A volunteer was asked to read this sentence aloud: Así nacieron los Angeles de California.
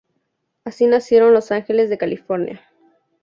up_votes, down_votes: 2, 0